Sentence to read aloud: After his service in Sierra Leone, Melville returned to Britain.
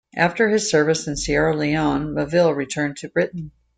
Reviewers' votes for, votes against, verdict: 2, 1, accepted